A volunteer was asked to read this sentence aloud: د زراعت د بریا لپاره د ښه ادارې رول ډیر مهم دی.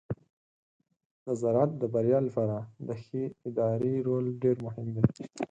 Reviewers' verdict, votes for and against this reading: accepted, 4, 0